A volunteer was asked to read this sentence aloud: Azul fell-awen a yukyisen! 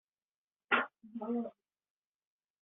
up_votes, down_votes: 0, 2